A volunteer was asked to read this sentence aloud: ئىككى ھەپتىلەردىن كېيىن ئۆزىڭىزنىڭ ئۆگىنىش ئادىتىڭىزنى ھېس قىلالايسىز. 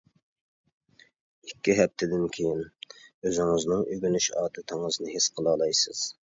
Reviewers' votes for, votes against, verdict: 0, 2, rejected